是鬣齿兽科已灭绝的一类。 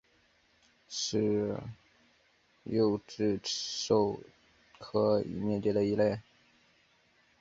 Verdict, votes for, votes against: rejected, 0, 2